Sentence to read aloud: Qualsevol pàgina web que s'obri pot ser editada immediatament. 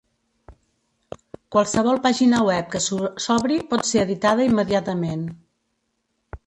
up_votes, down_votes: 0, 2